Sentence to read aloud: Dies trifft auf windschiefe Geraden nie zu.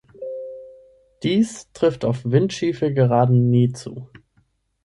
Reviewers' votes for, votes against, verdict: 3, 6, rejected